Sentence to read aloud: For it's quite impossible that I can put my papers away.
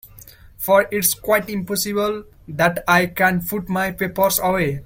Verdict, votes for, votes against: rejected, 0, 2